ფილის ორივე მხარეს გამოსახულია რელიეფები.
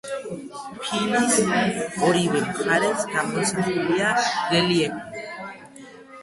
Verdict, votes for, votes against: rejected, 1, 2